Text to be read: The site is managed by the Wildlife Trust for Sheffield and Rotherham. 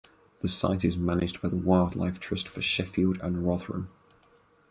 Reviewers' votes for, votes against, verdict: 2, 2, rejected